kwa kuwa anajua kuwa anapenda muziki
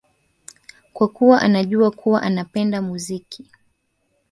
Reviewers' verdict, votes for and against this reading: accepted, 4, 1